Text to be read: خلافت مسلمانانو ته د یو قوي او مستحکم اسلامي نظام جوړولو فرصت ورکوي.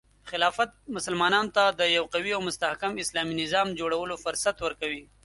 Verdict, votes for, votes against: accepted, 3, 0